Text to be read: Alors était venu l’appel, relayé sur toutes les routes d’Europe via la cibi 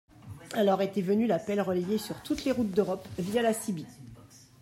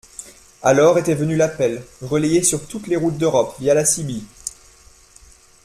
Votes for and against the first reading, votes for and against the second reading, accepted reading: 0, 2, 2, 0, second